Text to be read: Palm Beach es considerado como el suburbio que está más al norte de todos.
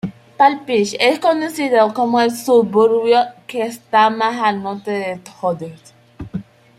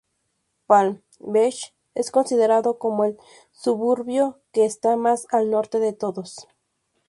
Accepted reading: second